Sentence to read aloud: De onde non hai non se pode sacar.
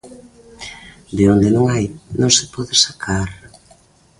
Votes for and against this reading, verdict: 2, 0, accepted